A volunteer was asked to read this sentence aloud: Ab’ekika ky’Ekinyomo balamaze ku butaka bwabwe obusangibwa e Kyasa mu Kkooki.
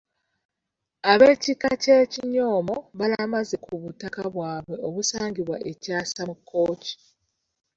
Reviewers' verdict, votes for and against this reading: rejected, 1, 2